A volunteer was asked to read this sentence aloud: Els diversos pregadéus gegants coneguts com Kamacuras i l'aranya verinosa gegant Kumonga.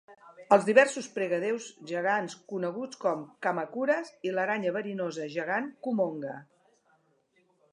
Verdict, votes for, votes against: accepted, 2, 0